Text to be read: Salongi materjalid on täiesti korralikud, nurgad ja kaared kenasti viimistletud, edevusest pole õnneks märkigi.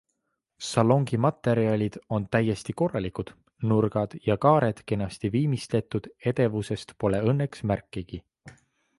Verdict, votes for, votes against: accepted, 2, 0